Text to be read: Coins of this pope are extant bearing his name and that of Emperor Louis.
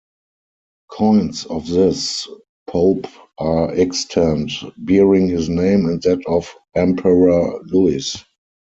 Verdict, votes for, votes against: rejected, 0, 4